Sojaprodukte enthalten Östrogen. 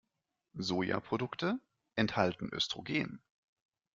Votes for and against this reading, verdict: 2, 0, accepted